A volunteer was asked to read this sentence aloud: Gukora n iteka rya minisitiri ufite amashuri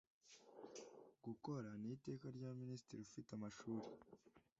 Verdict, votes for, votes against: accepted, 2, 0